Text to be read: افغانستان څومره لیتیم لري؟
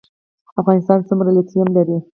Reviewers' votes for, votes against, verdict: 4, 0, accepted